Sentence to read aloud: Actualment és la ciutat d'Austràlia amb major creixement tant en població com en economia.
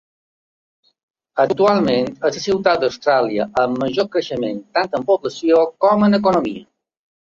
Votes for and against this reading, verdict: 2, 1, accepted